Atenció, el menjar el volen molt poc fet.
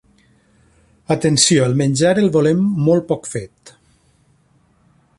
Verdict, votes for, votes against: rejected, 0, 2